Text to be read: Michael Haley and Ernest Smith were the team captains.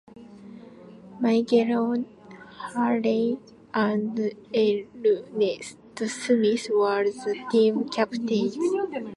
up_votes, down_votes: 0, 2